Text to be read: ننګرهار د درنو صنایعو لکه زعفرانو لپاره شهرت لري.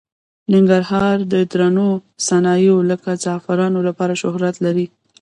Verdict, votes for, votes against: rejected, 1, 2